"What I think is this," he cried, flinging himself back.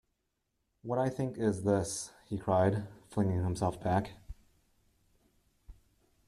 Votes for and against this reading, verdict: 2, 0, accepted